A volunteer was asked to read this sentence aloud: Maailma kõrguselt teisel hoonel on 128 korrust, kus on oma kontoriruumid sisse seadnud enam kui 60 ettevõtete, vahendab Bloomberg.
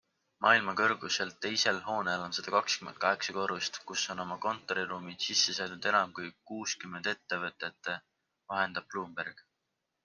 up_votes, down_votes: 0, 2